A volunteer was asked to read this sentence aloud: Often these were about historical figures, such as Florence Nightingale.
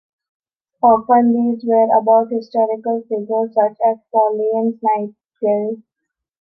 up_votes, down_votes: 0, 2